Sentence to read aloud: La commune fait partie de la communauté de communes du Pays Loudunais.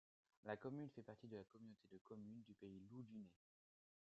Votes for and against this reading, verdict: 2, 1, accepted